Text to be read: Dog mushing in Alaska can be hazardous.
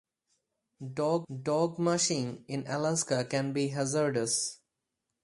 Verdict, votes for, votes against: rejected, 2, 2